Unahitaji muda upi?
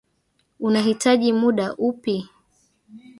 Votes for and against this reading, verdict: 2, 0, accepted